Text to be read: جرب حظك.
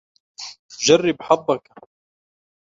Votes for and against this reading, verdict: 2, 0, accepted